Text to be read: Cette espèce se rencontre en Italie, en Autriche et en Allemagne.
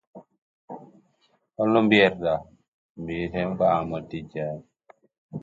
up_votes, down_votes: 0, 2